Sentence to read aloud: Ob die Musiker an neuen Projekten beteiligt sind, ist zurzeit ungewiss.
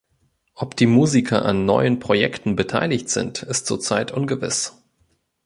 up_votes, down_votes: 3, 0